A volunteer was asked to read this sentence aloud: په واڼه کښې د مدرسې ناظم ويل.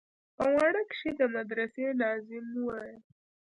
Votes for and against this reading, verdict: 2, 0, accepted